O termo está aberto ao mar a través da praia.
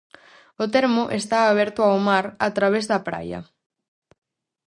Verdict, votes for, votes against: accepted, 4, 0